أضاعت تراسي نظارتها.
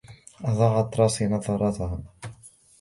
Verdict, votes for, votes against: accepted, 2, 1